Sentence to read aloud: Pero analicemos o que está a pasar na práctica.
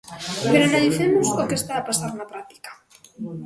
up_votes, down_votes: 0, 2